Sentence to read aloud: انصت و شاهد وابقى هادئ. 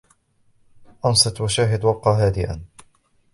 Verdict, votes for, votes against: rejected, 1, 2